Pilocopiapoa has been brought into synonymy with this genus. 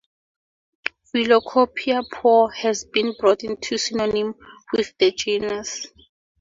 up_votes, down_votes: 0, 4